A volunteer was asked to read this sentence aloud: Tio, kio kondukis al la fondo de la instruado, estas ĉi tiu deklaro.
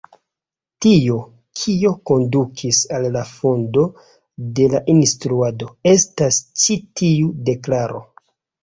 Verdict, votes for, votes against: accepted, 2, 1